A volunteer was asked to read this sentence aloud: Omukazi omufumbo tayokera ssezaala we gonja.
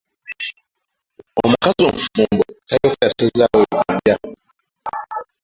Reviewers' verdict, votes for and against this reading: rejected, 1, 2